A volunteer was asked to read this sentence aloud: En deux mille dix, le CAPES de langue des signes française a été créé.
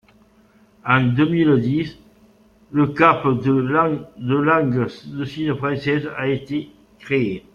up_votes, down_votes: 0, 2